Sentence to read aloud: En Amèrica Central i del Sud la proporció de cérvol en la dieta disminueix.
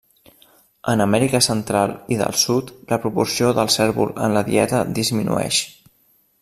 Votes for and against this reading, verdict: 0, 2, rejected